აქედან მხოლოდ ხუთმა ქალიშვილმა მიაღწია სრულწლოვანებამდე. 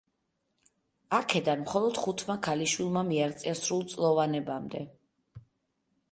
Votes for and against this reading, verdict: 2, 0, accepted